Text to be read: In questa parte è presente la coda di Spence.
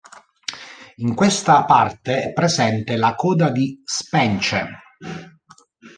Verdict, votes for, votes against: rejected, 0, 2